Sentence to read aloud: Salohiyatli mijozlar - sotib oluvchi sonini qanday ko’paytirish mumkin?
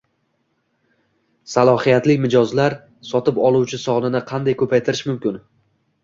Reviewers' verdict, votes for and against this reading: accepted, 2, 0